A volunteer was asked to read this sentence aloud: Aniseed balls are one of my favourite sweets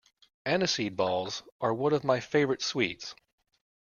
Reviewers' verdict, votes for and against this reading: accepted, 2, 0